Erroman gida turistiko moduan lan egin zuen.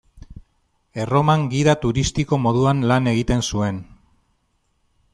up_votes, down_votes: 0, 2